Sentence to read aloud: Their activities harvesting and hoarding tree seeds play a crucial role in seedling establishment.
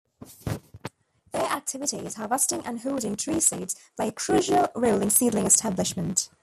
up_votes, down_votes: 0, 2